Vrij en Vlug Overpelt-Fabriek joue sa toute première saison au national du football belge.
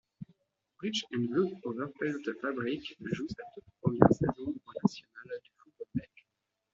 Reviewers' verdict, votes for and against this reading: rejected, 0, 2